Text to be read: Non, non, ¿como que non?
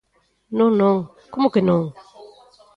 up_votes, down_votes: 1, 2